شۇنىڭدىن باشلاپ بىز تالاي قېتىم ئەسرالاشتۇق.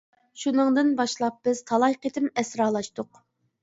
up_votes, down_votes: 2, 0